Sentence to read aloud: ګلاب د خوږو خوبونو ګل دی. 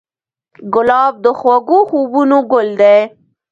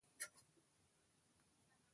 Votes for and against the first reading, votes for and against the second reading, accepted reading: 2, 0, 1, 2, first